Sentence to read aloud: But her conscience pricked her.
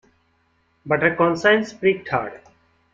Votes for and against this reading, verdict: 2, 0, accepted